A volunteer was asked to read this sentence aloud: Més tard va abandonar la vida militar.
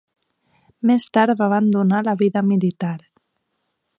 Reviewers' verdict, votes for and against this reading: accepted, 2, 0